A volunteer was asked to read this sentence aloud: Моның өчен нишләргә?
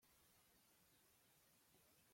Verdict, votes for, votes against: rejected, 0, 2